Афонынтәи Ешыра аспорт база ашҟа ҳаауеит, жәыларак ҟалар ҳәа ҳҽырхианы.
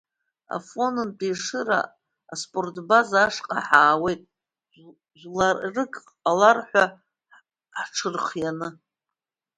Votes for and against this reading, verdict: 1, 3, rejected